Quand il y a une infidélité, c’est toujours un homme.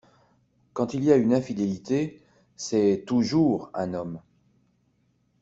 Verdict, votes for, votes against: accepted, 2, 1